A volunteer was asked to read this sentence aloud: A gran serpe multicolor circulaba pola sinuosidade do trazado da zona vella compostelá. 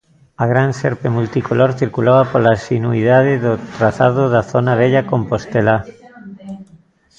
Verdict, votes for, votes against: rejected, 0, 2